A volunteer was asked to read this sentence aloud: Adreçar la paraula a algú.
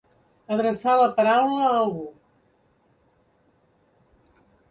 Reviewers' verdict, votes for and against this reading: accepted, 3, 0